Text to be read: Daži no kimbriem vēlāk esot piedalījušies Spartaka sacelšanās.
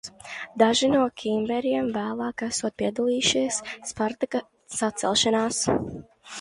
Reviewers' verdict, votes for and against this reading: rejected, 0, 2